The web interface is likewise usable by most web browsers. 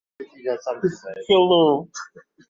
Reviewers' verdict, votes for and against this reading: rejected, 0, 2